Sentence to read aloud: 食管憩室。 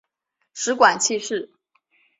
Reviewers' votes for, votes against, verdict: 2, 0, accepted